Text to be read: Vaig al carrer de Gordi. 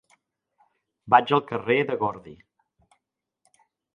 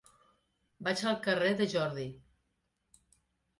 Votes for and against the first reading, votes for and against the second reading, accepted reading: 3, 0, 0, 2, first